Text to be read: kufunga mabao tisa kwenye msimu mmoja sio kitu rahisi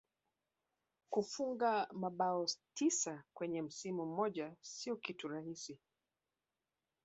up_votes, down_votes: 1, 2